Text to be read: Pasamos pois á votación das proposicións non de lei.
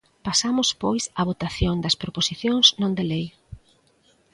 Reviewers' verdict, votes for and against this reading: accepted, 2, 0